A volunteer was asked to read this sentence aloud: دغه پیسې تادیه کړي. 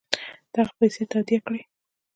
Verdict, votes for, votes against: rejected, 0, 2